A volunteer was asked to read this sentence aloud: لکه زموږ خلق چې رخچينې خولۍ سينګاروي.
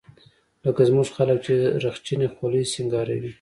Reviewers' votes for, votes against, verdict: 2, 0, accepted